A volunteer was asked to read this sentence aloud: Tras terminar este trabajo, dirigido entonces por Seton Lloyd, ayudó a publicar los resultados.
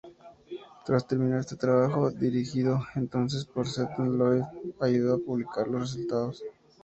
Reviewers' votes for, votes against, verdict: 2, 0, accepted